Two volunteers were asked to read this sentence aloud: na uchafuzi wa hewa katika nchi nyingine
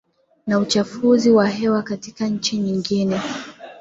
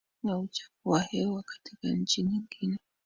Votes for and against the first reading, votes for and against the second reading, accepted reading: 2, 1, 1, 2, first